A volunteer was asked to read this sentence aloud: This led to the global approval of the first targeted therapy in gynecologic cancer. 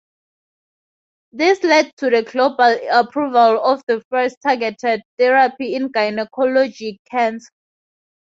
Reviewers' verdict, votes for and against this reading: rejected, 0, 2